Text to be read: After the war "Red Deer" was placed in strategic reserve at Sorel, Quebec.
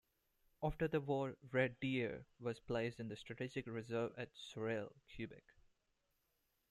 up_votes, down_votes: 0, 2